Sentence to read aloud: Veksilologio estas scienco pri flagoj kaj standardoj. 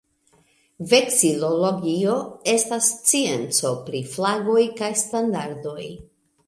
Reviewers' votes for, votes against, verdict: 2, 0, accepted